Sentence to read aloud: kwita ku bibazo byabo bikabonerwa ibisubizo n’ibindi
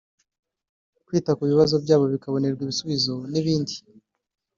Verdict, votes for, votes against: accepted, 2, 0